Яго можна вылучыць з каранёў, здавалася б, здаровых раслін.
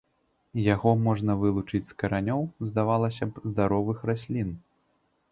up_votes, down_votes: 2, 0